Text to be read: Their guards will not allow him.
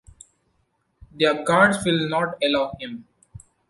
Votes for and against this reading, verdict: 2, 0, accepted